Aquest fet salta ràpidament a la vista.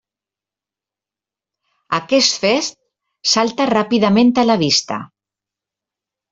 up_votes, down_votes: 1, 2